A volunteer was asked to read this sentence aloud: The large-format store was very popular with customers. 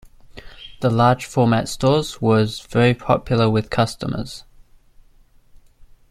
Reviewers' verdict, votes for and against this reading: rejected, 0, 2